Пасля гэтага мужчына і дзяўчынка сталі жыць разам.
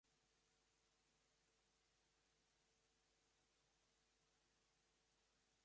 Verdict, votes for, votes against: rejected, 1, 2